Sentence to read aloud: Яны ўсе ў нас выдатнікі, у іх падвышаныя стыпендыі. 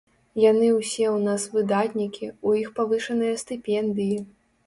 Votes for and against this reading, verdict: 0, 2, rejected